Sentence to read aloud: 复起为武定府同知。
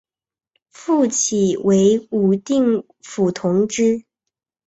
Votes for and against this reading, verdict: 6, 0, accepted